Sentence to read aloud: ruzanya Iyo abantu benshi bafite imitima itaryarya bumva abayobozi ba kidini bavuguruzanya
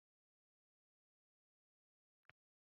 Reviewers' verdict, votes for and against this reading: rejected, 0, 2